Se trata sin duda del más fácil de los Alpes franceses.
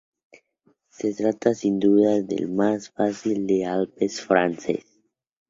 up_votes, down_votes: 0, 2